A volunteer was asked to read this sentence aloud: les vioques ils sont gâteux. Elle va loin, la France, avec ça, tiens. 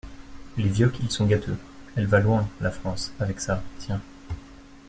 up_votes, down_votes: 2, 0